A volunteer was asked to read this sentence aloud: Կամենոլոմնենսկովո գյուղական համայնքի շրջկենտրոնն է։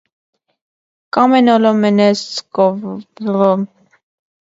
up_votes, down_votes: 0, 2